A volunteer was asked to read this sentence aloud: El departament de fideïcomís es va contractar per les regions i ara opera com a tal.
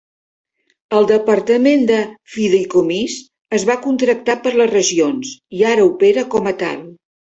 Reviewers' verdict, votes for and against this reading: accepted, 2, 0